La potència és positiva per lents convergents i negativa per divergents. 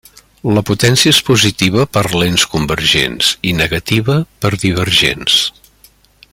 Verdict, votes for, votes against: accepted, 3, 0